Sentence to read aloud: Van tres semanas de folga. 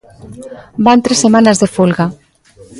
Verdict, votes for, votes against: rejected, 1, 2